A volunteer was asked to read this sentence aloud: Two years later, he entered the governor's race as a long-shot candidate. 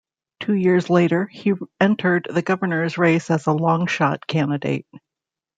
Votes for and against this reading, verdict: 1, 2, rejected